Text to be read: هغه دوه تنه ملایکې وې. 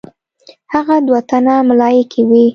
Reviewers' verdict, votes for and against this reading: accepted, 2, 0